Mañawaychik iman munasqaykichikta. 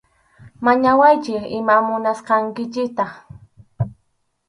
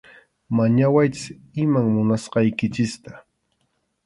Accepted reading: second